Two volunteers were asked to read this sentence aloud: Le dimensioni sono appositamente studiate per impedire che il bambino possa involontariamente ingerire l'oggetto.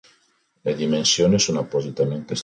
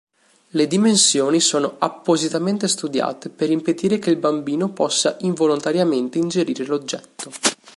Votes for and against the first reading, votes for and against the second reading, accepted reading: 1, 2, 4, 0, second